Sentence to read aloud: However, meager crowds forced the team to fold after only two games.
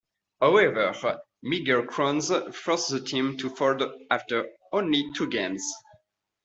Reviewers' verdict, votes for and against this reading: rejected, 0, 2